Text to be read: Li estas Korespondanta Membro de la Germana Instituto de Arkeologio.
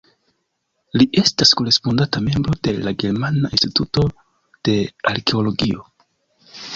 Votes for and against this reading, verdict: 2, 0, accepted